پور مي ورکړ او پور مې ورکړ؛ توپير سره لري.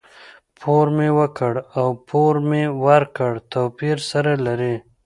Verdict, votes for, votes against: accepted, 2, 0